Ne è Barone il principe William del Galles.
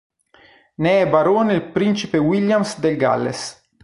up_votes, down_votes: 1, 3